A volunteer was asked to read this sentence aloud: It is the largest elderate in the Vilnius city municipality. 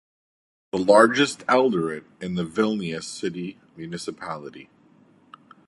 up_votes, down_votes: 1, 2